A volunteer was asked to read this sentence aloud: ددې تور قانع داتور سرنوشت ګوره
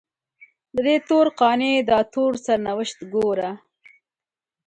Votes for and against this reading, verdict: 2, 0, accepted